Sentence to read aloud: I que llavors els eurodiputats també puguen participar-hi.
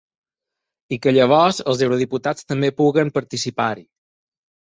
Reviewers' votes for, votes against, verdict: 4, 0, accepted